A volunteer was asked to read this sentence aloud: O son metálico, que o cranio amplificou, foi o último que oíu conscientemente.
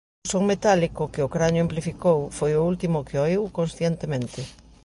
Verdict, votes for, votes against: rejected, 1, 3